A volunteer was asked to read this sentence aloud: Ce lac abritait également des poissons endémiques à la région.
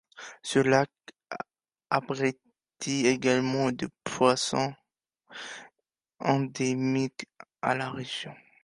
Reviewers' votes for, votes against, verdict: 1, 2, rejected